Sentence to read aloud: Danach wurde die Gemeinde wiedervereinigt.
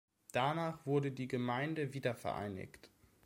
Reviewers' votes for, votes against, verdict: 2, 0, accepted